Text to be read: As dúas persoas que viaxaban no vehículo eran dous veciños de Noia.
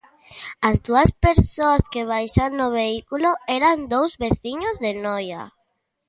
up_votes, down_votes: 0, 2